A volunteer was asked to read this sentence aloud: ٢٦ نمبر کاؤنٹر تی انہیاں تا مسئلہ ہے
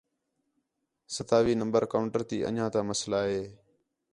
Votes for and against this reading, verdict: 0, 2, rejected